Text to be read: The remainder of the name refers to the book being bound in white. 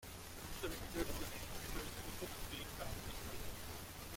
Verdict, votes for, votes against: rejected, 0, 2